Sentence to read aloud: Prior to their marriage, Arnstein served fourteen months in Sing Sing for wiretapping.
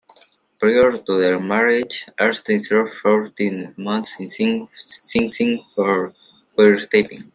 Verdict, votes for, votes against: rejected, 1, 2